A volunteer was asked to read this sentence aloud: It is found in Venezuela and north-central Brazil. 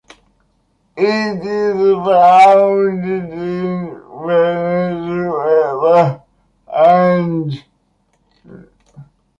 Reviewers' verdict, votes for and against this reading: rejected, 0, 2